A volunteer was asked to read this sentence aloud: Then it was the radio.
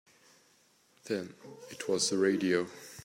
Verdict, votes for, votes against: accepted, 2, 0